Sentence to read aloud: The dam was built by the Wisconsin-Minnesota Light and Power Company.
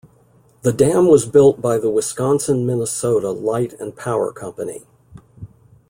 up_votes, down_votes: 2, 0